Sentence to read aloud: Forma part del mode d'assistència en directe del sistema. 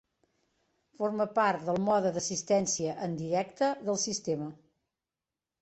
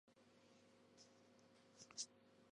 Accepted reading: first